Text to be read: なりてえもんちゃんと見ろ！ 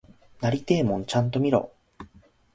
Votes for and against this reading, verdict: 2, 0, accepted